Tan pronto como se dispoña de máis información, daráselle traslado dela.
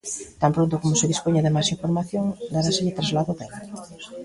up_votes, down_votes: 2, 0